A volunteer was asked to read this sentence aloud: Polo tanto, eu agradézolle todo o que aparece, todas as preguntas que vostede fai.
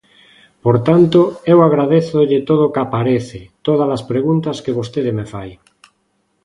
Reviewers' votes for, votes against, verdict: 0, 2, rejected